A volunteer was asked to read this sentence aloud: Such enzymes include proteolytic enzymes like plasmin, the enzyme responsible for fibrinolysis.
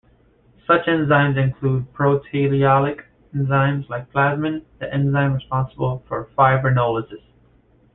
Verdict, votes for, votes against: rejected, 1, 2